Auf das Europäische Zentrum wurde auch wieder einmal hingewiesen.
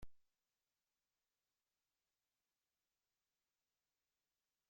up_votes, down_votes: 0, 2